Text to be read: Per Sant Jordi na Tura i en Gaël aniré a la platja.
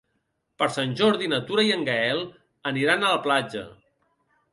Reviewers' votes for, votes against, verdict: 0, 2, rejected